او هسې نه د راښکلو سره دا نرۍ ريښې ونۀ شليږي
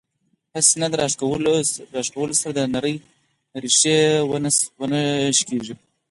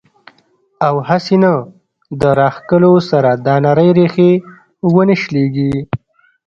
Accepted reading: first